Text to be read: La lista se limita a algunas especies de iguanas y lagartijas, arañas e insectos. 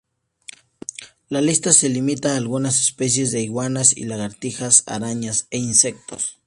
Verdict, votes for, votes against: accepted, 2, 0